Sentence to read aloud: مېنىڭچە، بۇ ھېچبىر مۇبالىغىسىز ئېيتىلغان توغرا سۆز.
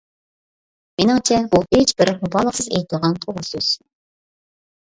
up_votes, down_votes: 2, 0